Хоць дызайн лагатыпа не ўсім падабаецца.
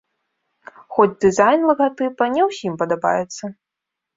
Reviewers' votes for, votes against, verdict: 2, 0, accepted